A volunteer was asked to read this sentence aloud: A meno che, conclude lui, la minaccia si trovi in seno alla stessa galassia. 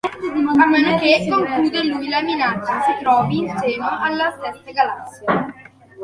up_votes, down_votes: 1, 2